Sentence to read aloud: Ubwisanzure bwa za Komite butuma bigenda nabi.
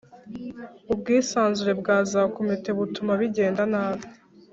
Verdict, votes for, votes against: accepted, 4, 0